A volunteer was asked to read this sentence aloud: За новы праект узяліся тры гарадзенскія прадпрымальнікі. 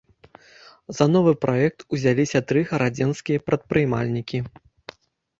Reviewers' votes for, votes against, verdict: 2, 3, rejected